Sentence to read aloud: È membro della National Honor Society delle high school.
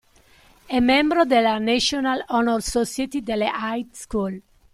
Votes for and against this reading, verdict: 0, 2, rejected